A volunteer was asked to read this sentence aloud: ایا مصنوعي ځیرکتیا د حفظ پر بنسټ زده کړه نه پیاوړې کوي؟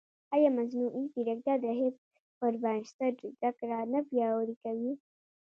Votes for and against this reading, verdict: 2, 0, accepted